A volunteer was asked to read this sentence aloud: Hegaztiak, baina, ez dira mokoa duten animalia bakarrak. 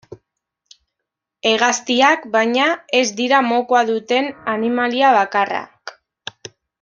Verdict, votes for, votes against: rejected, 1, 2